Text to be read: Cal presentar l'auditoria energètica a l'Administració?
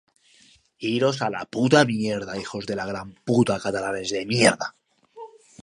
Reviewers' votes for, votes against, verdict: 0, 3, rejected